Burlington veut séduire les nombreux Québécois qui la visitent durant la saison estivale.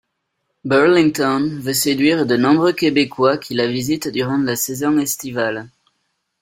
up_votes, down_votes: 0, 2